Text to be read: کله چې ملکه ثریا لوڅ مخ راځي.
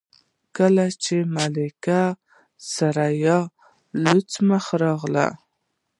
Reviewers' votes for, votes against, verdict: 1, 2, rejected